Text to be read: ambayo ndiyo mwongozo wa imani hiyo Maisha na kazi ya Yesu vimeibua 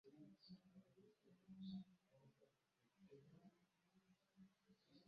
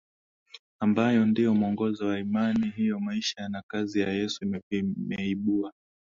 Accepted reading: second